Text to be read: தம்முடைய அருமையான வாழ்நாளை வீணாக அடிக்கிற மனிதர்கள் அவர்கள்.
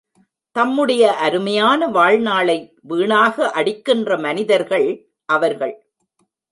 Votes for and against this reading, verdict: 1, 2, rejected